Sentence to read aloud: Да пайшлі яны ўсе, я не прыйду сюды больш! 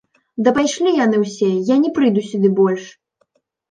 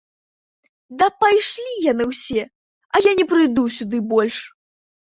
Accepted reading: first